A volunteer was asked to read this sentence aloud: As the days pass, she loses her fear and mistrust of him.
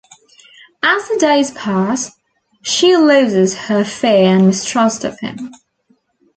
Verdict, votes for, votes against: accepted, 2, 0